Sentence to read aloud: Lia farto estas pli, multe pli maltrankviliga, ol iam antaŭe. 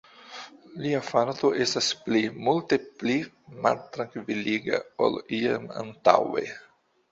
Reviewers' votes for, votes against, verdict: 2, 1, accepted